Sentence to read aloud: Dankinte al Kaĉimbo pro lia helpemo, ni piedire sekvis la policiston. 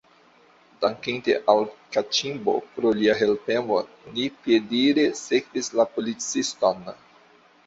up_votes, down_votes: 2, 0